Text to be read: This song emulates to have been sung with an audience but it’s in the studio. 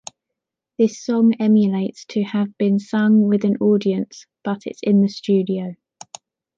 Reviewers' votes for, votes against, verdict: 2, 0, accepted